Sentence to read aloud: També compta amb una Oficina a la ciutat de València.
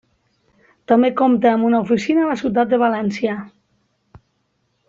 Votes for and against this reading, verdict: 3, 1, accepted